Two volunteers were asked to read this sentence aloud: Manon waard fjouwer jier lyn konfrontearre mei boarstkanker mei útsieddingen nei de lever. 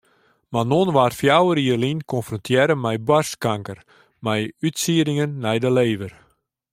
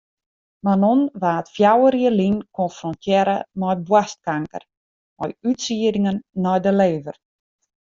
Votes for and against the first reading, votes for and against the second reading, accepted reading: 2, 0, 1, 2, first